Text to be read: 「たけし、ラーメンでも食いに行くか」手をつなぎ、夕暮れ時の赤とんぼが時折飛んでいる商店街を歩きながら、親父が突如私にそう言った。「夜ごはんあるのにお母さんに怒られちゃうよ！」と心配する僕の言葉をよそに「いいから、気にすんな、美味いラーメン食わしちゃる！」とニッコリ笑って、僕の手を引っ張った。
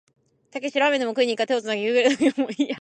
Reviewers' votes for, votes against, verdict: 0, 2, rejected